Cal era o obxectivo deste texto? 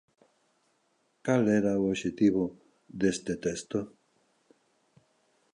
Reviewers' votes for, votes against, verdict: 2, 0, accepted